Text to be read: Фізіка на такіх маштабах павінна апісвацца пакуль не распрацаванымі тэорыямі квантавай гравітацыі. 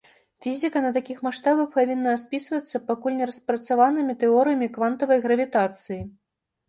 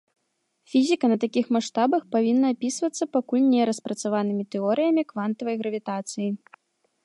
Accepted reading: second